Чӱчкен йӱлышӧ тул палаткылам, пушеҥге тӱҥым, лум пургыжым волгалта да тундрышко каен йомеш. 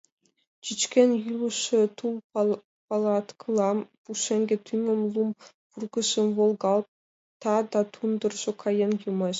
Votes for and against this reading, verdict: 0, 3, rejected